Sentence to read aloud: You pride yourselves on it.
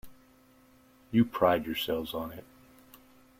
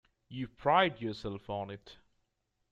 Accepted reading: first